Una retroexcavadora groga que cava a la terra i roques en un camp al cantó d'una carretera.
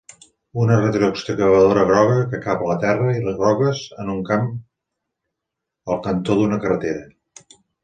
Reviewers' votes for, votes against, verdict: 0, 2, rejected